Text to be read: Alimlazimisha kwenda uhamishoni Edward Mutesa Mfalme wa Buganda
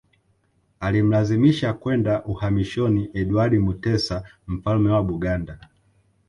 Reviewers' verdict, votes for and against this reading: accepted, 2, 0